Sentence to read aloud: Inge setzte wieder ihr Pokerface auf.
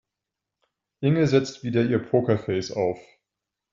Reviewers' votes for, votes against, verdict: 0, 2, rejected